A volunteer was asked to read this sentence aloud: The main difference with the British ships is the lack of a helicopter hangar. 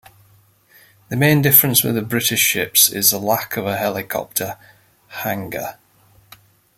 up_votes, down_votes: 2, 0